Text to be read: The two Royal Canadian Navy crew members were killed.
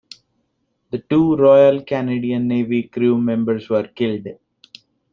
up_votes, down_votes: 1, 2